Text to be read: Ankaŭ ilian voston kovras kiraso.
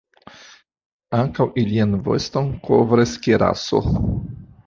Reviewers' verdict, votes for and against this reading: accepted, 2, 0